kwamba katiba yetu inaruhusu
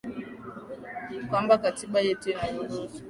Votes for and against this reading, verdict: 2, 3, rejected